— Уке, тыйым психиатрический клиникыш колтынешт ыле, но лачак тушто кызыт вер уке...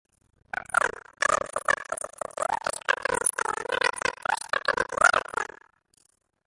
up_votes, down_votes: 0, 2